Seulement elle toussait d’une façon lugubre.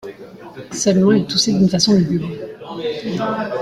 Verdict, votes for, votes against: accepted, 2, 1